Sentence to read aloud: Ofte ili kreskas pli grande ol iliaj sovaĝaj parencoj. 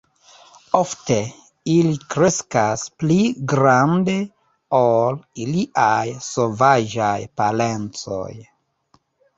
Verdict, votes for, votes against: rejected, 1, 2